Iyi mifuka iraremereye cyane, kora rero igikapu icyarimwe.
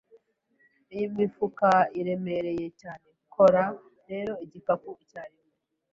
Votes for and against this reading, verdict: 1, 2, rejected